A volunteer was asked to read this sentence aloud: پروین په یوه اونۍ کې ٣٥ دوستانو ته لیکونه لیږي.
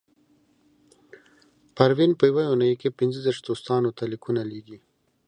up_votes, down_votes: 0, 2